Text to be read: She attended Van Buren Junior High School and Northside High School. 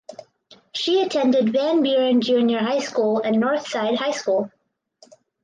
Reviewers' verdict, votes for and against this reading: accepted, 4, 0